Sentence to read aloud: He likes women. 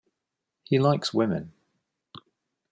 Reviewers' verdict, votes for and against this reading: accepted, 2, 0